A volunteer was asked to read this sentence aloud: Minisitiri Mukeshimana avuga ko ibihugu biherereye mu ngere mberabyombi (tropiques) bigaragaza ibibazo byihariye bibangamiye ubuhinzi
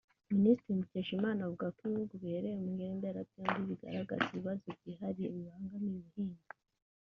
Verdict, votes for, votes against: rejected, 1, 2